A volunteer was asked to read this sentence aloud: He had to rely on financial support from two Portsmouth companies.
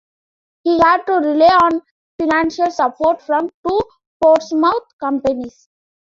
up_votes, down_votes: 1, 2